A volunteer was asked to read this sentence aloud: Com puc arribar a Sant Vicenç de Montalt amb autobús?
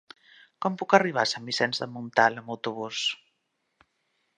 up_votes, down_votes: 3, 0